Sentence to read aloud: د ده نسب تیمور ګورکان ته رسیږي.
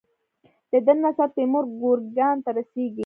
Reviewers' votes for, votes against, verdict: 1, 2, rejected